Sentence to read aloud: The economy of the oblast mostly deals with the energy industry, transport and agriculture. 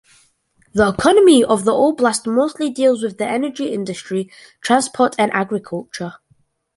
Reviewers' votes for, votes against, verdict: 2, 0, accepted